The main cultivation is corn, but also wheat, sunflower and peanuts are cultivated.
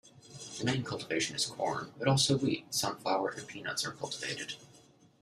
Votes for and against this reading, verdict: 1, 2, rejected